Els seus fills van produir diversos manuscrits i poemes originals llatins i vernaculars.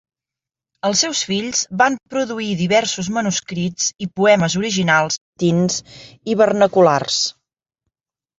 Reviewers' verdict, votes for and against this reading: rejected, 1, 4